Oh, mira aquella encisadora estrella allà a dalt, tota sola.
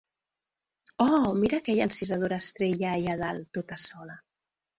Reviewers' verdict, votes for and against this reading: accepted, 2, 0